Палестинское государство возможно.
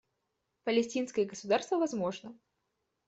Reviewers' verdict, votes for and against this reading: accepted, 2, 0